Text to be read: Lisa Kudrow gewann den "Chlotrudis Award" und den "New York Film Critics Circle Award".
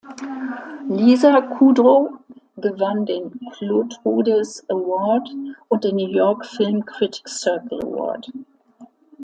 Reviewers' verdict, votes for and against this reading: accepted, 2, 0